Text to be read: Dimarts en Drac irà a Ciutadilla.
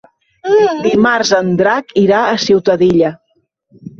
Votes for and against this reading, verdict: 1, 2, rejected